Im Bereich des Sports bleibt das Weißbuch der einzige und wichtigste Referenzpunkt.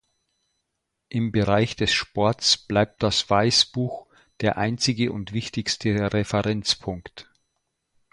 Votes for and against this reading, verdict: 2, 0, accepted